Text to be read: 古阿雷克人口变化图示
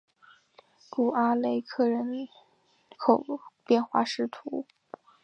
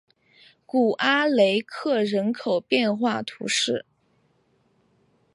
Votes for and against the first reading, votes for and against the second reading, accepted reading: 0, 2, 5, 1, second